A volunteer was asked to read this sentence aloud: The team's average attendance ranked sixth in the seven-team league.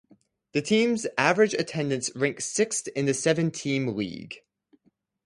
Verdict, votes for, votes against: accepted, 4, 0